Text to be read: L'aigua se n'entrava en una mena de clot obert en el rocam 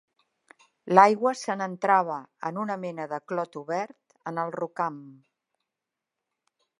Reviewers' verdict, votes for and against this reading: accepted, 3, 0